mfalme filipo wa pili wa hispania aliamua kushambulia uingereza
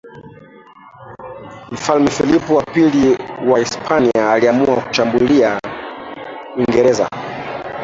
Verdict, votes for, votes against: rejected, 0, 2